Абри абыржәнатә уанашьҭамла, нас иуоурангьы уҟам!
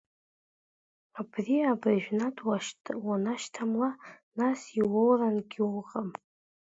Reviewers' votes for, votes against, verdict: 0, 2, rejected